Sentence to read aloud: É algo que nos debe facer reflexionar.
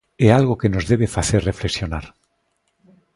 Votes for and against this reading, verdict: 2, 0, accepted